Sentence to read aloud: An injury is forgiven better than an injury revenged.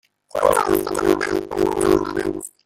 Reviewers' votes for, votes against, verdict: 0, 2, rejected